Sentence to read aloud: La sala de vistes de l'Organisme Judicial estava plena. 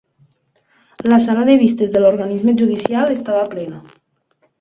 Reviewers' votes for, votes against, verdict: 3, 0, accepted